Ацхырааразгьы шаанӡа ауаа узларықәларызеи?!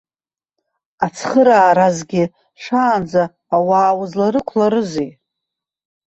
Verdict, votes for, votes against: rejected, 1, 2